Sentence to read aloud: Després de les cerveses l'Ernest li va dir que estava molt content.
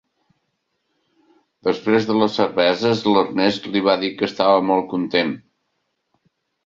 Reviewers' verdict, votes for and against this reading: accepted, 4, 0